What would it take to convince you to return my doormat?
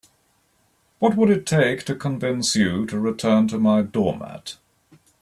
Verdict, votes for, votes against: rejected, 0, 2